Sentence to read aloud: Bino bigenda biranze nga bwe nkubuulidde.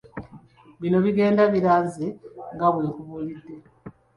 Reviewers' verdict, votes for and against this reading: rejected, 1, 2